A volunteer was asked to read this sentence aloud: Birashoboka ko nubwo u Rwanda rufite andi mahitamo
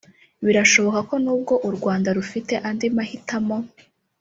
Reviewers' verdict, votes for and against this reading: accepted, 3, 0